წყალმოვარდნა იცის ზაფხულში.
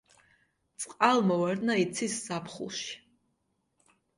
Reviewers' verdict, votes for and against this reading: accepted, 2, 0